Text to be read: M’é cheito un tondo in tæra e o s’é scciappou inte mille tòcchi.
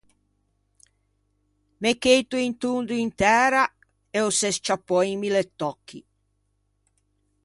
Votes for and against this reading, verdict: 0, 2, rejected